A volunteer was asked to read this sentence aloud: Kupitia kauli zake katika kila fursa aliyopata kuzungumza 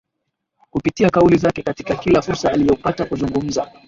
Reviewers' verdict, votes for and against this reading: accepted, 2, 0